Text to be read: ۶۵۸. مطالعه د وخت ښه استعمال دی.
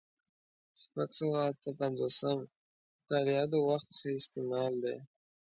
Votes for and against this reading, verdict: 0, 2, rejected